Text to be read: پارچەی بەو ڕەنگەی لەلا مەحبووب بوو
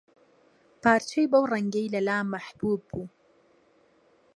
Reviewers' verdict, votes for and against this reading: accepted, 2, 0